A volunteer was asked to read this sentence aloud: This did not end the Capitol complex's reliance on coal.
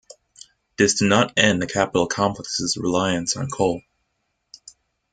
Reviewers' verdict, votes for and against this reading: accepted, 2, 0